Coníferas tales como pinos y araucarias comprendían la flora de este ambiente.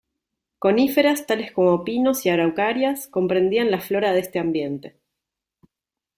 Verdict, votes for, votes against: accepted, 2, 0